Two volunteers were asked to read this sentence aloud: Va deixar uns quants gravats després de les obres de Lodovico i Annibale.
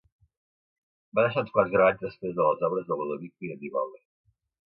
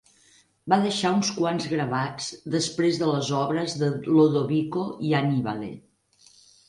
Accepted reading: second